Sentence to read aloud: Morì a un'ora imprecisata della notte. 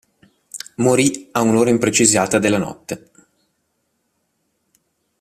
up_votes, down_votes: 2, 0